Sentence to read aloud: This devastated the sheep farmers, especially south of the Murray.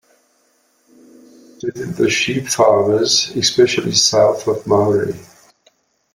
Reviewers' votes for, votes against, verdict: 1, 2, rejected